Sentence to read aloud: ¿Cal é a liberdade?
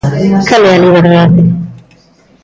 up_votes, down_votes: 0, 2